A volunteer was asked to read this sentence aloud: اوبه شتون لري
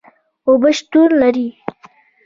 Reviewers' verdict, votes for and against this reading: rejected, 2, 3